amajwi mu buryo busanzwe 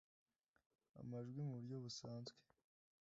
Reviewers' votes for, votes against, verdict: 2, 0, accepted